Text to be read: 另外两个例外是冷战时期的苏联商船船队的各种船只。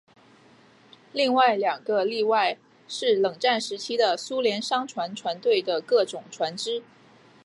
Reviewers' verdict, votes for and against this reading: accepted, 5, 0